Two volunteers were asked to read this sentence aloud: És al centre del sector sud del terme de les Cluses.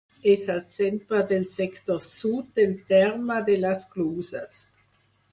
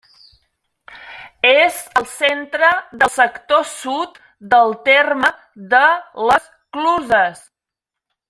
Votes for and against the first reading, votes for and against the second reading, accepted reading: 2, 4, 2, 0, second